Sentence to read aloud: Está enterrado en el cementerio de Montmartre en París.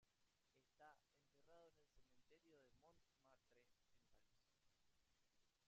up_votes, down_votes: 0, 2